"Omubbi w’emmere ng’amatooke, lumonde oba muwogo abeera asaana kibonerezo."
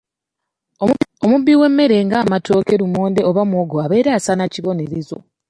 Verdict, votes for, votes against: accepted, 3, 1